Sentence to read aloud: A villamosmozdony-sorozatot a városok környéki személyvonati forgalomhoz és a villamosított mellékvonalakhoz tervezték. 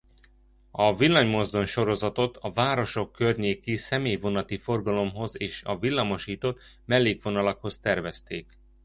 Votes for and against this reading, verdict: 1, 2, rejected